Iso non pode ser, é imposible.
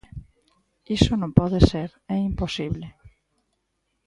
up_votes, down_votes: 2, 0